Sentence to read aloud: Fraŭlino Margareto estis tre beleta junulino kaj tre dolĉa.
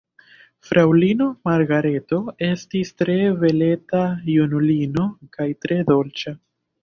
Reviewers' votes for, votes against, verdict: 1, 2, rejected